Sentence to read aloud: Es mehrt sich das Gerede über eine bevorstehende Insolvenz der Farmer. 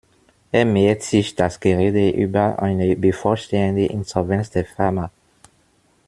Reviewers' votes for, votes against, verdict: 0, 2, rejected